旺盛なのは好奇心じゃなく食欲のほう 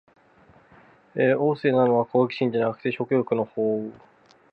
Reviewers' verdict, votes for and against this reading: rejected, 0, 2